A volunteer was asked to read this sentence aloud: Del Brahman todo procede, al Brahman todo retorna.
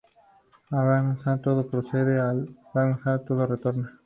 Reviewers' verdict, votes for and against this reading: accepted, 2, 0